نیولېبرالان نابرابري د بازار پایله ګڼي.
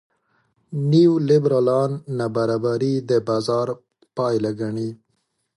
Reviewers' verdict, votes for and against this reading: accepted, 2, 0